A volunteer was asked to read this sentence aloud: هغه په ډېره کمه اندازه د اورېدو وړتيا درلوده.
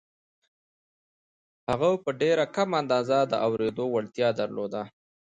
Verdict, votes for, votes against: accepted, 2, 0